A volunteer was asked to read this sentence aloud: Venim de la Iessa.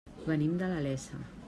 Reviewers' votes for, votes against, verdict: 1, 2, rejected